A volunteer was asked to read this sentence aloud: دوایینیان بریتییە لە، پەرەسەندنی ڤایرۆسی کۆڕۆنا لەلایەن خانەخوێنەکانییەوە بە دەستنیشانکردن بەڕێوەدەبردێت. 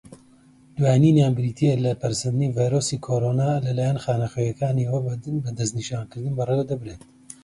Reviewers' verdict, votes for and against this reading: accepted, 2, 0